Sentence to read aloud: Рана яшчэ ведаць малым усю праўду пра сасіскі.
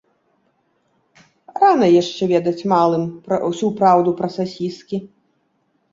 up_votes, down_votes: 1, 2